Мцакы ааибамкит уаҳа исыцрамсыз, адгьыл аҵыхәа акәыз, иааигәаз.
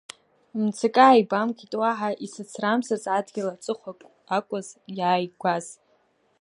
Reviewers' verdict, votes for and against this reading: rejected, 1, 2